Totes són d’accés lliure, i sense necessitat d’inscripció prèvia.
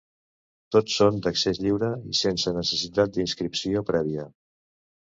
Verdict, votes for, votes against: accepted, 2, 1